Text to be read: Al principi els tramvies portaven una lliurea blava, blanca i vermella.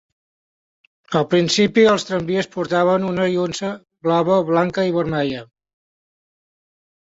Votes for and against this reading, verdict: 1, 2, rejected